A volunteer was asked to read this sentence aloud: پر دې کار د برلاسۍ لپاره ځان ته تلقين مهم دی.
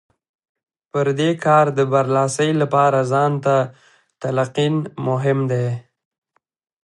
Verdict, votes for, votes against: accepted, 3, 1